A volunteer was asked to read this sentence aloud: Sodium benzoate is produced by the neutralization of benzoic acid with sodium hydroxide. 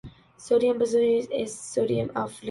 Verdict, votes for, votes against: rejected, 0, 2